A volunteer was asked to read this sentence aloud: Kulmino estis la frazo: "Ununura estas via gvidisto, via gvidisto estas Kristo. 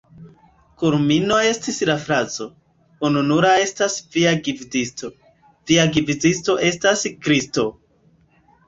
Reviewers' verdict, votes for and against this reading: accepted, 2, 1